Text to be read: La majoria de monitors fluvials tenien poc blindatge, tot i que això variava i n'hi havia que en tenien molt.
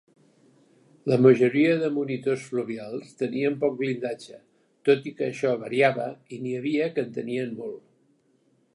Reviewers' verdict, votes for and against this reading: accepted, 4, 0